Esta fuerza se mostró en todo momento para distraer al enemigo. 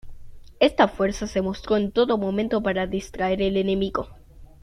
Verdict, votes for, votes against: rejected, 1, 2